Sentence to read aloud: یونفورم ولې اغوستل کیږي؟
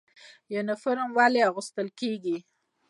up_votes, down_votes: 2, 0